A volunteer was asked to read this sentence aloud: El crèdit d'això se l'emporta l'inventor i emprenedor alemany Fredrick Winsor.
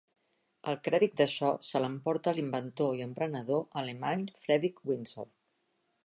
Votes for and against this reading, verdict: 2, 0, accepted